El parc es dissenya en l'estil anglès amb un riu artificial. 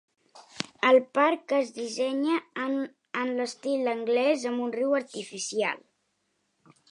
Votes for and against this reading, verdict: 0, 2, rejected